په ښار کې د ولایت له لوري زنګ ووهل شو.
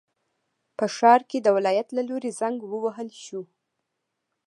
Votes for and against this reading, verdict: 2, 0, accepted